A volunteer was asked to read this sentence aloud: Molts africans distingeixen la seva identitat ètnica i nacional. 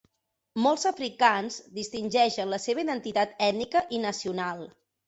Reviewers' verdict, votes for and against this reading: accepted, 4, 0